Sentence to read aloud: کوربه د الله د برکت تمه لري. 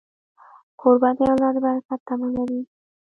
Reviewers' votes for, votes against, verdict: 2, 0, accepted